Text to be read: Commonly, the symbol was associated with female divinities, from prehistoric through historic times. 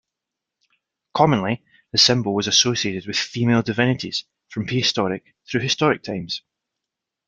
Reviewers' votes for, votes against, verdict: 2, 0, accepted